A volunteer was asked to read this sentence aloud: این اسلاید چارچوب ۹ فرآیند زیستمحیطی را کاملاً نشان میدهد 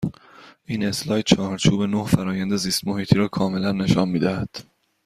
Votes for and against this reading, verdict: 0, 2, rejected